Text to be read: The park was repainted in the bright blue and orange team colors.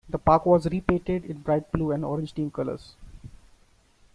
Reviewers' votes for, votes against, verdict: 0, 2, rejected